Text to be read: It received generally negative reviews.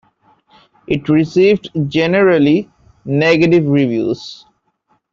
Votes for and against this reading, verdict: 2, 0, accepted